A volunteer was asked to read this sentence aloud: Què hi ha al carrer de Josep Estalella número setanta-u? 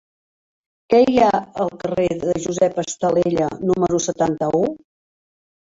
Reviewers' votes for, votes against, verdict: 0, 2, rejected